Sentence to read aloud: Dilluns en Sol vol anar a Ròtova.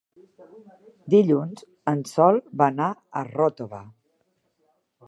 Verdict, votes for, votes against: rejected, 1, 3